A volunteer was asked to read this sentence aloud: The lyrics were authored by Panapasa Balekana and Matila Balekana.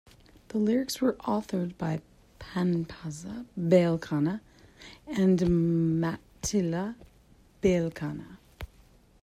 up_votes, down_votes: 1, 2